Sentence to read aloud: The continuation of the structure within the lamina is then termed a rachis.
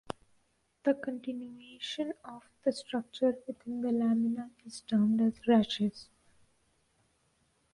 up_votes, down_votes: 0, 2